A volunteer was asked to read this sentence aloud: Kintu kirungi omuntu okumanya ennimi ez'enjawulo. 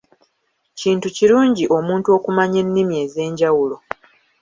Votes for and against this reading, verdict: 2, 0, accepted